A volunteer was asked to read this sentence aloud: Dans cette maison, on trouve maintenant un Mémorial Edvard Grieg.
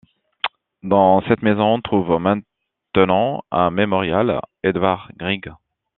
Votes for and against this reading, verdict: 2, 0, accepted